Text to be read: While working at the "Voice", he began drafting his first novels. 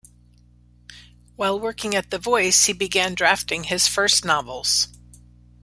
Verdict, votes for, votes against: accepted, 3, 0